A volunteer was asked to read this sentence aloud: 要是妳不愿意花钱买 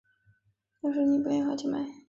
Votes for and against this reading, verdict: 0, 3, rejected